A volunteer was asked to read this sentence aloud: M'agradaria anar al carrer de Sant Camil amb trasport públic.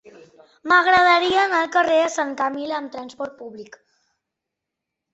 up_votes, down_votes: 3, 0